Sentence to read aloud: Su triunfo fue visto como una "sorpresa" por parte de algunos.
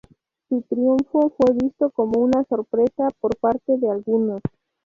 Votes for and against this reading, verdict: 2, 0, accepted